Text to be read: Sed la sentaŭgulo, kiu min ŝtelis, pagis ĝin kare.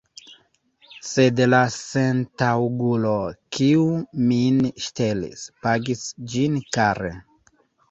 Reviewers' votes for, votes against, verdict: 0, 2, rejected